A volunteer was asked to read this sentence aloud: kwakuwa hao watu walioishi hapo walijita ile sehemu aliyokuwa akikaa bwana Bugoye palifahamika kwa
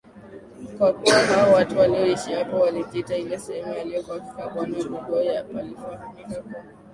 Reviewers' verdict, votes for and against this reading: accepted, 2, 0